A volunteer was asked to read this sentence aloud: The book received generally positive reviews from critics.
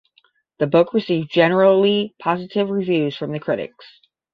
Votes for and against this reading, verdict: 0, 10, rejected